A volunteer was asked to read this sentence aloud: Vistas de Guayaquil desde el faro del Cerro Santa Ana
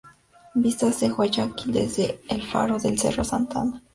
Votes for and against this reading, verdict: 2, 0, accepted